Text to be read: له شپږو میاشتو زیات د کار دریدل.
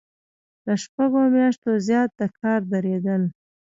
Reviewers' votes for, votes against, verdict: 0, 2, rejected